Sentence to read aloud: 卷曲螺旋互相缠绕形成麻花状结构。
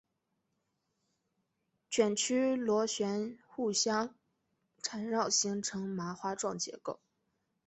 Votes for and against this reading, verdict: 2, 0, accepted